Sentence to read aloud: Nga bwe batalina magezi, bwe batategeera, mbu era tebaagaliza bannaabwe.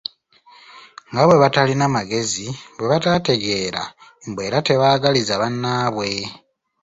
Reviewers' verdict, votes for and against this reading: rejected, 1, 2